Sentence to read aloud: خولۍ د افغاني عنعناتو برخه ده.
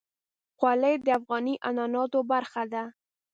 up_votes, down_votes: 3, 0